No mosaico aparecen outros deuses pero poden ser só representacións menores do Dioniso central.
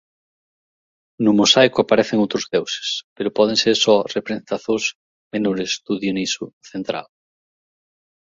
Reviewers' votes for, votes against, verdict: 0, 2, rejected